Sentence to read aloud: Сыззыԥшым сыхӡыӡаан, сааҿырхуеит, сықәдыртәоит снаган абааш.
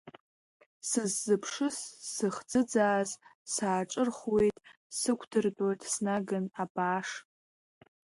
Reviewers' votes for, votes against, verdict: 1, 2, rejected